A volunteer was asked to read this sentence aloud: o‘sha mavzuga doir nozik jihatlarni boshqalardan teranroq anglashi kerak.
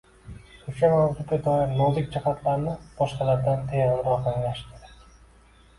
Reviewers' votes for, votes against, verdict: 2, 0, accepted